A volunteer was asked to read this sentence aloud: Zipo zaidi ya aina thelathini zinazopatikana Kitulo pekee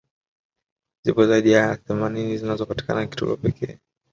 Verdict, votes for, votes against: rejected, 0, 2